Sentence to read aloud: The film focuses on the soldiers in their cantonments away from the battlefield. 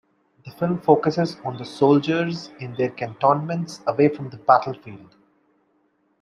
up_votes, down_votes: 2, 0